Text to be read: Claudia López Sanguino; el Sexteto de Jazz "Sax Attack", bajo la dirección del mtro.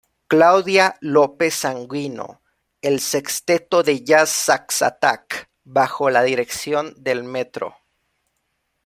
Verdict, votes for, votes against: accepted, 2, 0